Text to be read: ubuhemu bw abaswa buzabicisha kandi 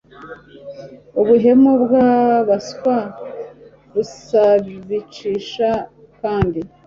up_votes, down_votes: 0, 2